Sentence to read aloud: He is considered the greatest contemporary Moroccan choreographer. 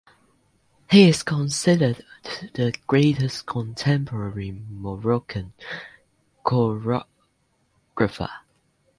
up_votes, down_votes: 0, 2